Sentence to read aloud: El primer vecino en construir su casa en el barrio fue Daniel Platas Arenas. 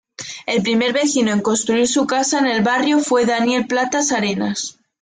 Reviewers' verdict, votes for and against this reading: accepted, 2, 0